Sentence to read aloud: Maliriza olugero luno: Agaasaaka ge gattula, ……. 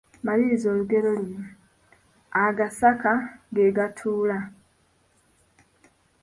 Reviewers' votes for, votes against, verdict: 1, 2, rejected